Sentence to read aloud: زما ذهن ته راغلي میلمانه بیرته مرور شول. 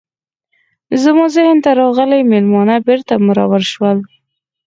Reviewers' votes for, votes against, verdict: 4, 0, accepted